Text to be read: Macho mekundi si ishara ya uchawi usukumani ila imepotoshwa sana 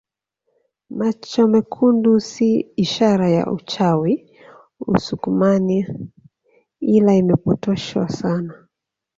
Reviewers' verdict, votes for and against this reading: accepted, 2, 1